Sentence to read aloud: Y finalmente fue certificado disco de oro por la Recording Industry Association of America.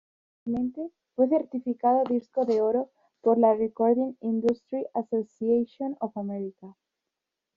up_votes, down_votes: 1, 2